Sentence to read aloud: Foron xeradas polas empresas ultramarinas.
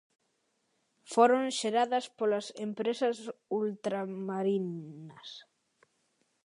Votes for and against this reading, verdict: 0, 2, rejected